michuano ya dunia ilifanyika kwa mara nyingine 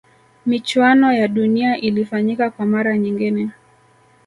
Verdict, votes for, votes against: accepted, 2, 0